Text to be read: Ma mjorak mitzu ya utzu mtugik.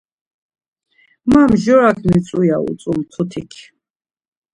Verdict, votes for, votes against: rejected, 0, 2